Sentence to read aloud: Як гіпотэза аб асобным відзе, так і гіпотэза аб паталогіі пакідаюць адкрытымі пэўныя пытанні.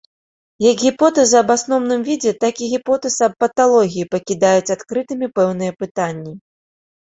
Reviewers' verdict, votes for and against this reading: rejected, 0, 2